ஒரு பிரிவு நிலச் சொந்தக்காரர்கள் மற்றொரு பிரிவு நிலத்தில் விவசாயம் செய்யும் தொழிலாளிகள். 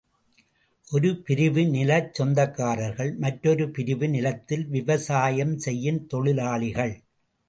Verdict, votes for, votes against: rejected, 2, 2